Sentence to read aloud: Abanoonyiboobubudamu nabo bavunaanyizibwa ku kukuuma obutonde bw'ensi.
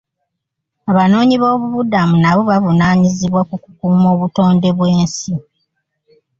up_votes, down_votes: 1, 2